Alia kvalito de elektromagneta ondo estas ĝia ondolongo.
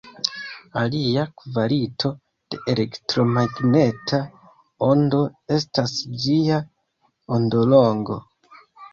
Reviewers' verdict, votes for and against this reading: accepted, 2, 1